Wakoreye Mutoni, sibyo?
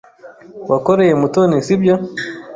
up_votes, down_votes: 2, 0